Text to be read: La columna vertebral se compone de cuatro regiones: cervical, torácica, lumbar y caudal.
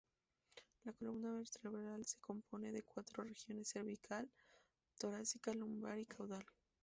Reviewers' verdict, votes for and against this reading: accepted, 2, 0